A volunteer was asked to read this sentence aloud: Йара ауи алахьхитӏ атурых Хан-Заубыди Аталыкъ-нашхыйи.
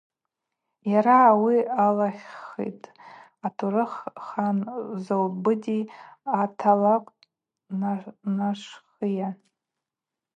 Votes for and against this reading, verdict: 0, 2, rejected